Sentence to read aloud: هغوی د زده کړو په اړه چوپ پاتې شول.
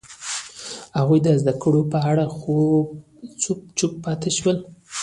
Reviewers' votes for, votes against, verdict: 0, 2, rejected